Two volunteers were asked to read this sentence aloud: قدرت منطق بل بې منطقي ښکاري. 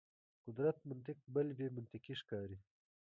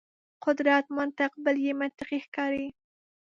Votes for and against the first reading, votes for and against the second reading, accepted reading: 1, 2, 2, 0, second